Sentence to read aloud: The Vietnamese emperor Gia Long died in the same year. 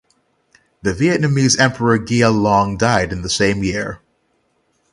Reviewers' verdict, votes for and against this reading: accepted, 6, 3